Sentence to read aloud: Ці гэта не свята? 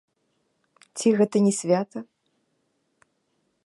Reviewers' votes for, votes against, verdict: 2, 0, accepted